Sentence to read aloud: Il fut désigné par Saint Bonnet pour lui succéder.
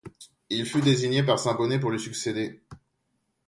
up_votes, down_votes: 2, 0